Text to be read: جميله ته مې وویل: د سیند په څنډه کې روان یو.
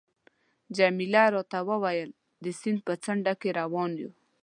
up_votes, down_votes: 1, 2